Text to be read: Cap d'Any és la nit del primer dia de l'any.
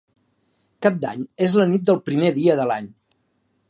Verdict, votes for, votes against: accepted, 2, 0